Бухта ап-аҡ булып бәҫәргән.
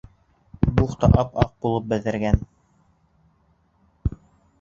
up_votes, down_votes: 1, 2